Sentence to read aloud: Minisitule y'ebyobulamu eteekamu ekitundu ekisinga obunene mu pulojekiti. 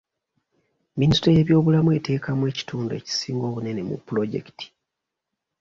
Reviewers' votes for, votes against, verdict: 2, 0, accepted